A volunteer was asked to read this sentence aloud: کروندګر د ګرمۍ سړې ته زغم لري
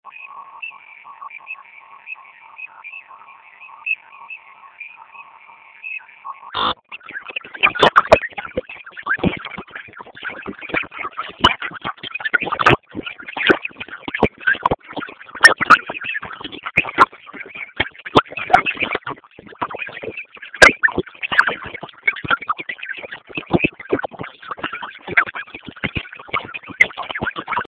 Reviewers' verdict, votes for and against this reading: rejected, 0, 2